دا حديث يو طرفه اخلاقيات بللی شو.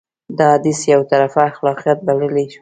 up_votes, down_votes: 0, 2